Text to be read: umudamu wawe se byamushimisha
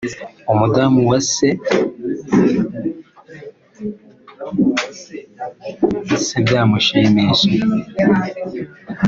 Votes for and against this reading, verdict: 2, 3, rejected